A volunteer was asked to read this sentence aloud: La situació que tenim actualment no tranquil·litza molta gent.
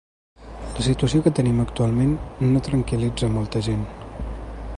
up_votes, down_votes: 3, 0